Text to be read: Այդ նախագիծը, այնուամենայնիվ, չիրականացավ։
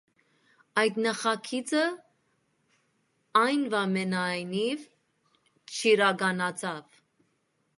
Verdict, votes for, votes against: rejected, 0, 2